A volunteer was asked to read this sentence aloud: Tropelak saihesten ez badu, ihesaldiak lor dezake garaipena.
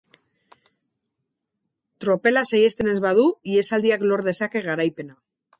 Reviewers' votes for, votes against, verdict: 2, 2, rejected